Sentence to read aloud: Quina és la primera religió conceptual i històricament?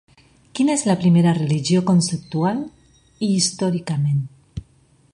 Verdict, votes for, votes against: accepted, 2, 0